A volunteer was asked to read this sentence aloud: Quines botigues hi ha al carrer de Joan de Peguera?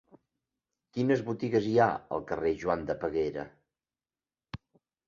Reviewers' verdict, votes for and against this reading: rejected, 0, 2